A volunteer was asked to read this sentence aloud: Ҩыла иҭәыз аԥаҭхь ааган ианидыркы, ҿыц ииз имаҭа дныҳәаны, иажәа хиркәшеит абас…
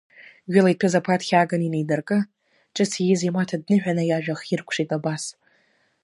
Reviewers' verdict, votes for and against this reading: accepted, 2, 0